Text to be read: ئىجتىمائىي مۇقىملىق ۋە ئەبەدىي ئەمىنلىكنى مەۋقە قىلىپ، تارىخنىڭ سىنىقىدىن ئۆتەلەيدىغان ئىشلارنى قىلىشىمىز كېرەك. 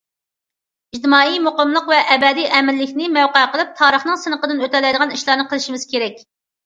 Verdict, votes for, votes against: accepted, 2, 0